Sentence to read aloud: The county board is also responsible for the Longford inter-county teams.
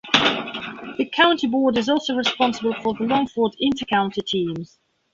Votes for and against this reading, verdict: 2, 0, accepted